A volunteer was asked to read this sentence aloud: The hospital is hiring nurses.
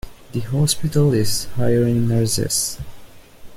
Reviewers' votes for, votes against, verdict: 1, 2, rejected